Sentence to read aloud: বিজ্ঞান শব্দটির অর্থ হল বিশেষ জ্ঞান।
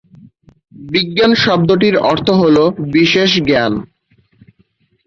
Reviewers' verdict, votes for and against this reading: accepted, 6, 0